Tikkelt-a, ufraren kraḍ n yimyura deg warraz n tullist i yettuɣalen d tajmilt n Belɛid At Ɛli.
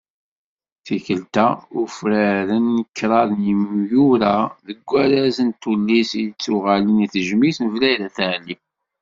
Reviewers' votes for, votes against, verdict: 1, 2, rejected